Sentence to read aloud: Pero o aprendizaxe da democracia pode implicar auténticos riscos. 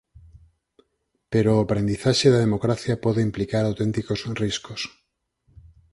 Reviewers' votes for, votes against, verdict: 6, 0, accepted